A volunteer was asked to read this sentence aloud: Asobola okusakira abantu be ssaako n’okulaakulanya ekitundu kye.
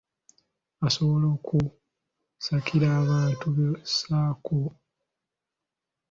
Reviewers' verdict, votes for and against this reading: rejected, 0, 2